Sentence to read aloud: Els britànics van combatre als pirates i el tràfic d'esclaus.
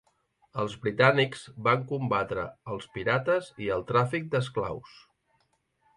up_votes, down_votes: 3, 0